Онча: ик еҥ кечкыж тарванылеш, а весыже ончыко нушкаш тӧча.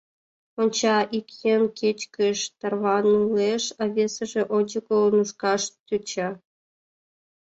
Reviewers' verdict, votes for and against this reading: accepted, 2, 0